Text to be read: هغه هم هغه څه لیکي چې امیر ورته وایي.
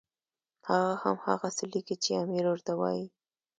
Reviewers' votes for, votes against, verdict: 2, 0, accepted